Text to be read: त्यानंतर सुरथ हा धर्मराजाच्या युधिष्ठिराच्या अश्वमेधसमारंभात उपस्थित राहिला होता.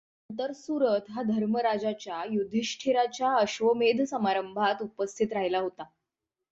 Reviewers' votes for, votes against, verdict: 3, 6, rejected